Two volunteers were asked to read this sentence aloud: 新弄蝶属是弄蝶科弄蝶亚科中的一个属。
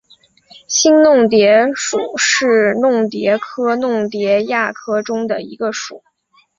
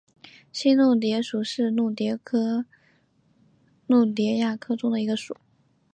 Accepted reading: first